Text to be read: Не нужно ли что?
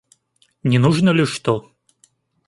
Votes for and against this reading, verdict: 2, 0, accepted